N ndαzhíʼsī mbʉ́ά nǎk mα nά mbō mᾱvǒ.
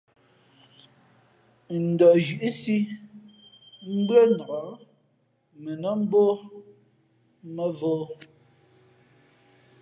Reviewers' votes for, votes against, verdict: 1, 2, rejected